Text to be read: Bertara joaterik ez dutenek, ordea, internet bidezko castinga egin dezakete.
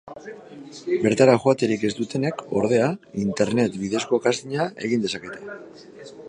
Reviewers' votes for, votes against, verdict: 3, 1, accepted